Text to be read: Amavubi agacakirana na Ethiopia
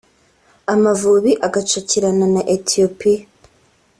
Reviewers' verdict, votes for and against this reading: accepted, 3, 0